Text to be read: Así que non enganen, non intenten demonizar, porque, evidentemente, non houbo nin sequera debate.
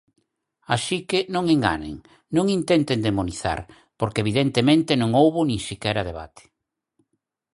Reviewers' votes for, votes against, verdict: 4, 0, accepted